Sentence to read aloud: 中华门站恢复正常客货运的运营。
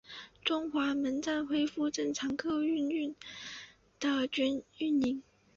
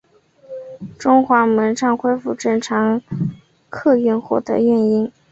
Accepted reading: second